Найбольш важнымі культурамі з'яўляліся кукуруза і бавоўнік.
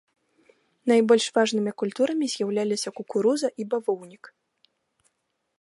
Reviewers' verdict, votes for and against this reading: rejected, 1, 2